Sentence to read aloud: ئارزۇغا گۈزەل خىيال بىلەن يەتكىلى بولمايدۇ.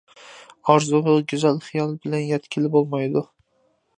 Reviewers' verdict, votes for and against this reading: accepted, 2, 0